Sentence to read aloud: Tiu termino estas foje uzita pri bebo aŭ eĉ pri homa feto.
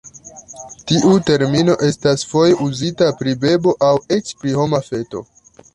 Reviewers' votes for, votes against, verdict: 2, 0, accepted